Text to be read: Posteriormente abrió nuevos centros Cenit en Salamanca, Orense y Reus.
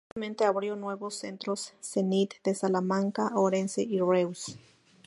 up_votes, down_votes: 0, 2